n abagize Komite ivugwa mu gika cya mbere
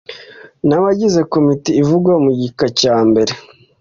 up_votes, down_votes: 2, 0